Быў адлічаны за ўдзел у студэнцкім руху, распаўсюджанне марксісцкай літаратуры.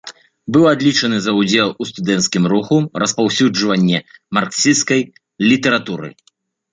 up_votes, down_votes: 1, 2